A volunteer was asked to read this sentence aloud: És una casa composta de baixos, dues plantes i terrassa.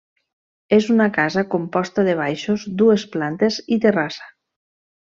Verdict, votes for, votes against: accepted, 3, 0